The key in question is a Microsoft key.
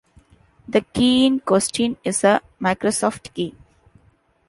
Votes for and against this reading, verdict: 0, 2, rejected